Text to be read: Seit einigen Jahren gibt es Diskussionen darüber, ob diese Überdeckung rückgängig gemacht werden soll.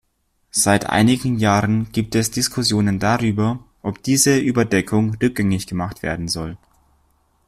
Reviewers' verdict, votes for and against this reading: accepted, 2, 0